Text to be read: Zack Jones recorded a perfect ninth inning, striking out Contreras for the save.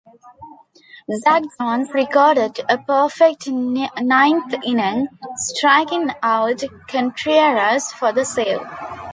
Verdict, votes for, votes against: rejected, 1, 2